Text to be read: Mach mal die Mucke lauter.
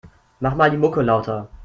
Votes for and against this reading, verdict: 2, 0, accepted